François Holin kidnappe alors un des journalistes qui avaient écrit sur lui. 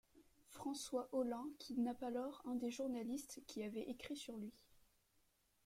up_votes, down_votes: 2, 1